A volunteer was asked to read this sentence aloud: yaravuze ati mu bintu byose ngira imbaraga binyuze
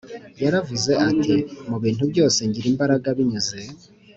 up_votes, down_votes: 2, 0